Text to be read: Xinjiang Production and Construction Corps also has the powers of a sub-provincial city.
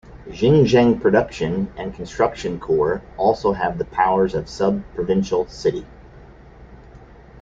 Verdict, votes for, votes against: accepted, 2, 0